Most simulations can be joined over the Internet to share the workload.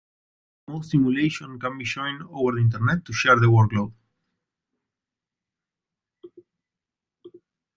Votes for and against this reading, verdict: 0, 2, rejected